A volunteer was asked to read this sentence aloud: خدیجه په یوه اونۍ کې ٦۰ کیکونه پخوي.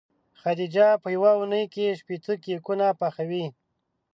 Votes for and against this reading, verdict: 0, 2, rejected